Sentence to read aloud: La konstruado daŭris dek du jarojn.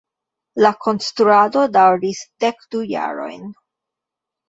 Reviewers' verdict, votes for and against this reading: accepted, 2, 0